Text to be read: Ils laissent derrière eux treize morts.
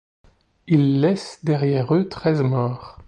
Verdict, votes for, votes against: accepted, 2, 0